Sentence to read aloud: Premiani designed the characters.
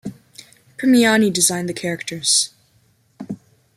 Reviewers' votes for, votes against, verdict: 2, 0, accepted